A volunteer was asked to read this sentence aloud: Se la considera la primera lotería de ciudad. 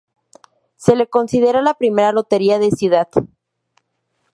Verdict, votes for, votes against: rejected, 0, 2